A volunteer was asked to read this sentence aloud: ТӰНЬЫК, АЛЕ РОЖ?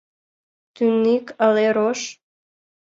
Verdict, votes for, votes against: rejected, 0, 2